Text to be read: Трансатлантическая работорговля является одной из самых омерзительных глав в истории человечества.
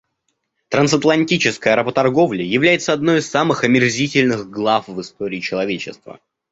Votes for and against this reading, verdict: 2, 0, accepted